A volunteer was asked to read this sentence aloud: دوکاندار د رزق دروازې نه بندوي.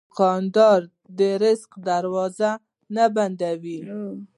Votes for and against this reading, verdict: 1, 2, rejected